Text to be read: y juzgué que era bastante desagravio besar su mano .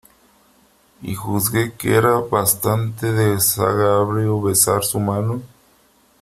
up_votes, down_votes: 1, 3